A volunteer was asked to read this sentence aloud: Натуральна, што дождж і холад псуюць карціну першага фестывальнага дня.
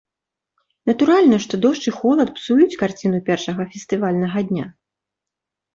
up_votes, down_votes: 2, 0